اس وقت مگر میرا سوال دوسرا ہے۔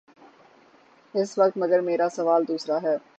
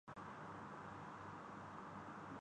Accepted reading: first